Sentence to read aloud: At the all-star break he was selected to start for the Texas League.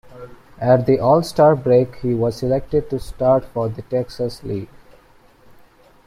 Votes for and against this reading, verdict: 2, 0, accepted